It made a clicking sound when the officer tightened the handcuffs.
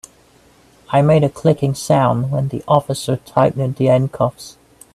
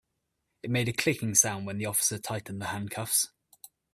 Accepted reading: second